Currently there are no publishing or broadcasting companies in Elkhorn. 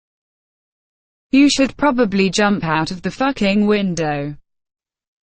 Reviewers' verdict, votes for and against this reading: rejected, 0, 2